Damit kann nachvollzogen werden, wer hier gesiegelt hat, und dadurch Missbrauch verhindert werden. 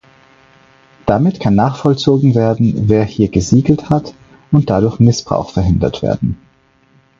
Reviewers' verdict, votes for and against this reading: accepted, 4, 2